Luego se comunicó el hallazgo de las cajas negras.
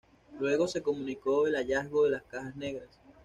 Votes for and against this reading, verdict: 2, 0, accepted